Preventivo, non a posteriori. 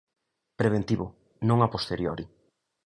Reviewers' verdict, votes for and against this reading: accepted, 2, 0